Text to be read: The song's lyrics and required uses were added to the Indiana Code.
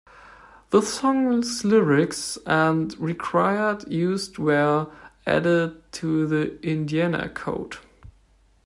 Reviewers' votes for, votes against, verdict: 2, 1, accepted